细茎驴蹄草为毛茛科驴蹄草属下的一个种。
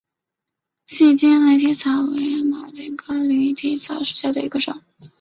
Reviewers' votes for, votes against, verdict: 3, 0, accepted